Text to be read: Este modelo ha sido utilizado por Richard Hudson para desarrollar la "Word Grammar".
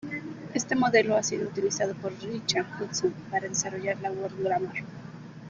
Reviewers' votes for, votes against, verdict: 0, 2, rejected